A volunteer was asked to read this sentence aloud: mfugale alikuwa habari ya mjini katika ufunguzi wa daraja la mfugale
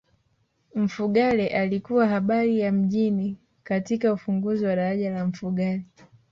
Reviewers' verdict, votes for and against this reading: accepted, 3, 0